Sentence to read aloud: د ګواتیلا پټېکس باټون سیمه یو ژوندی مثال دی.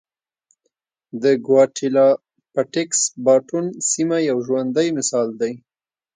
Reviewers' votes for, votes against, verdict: 2, 0, accepted